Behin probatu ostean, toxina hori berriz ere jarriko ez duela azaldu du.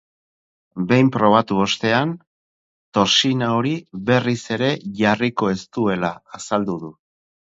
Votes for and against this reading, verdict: 2, 2, rejected